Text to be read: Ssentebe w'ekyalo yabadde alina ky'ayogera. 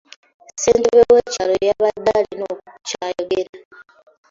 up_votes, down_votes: 2, 0